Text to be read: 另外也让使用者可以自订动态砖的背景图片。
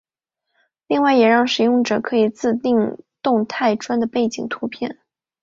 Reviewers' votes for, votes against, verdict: 0, 2, rejected